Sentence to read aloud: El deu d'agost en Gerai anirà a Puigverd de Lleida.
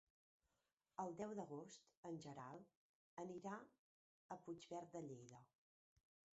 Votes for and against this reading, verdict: 0, 2, rejected